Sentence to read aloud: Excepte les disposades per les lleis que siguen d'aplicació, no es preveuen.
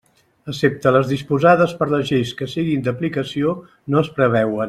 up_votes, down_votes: 1, 2